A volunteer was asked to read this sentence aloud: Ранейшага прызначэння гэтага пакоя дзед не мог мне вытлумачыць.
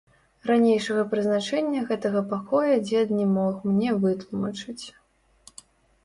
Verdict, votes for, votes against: rejected, 1, 2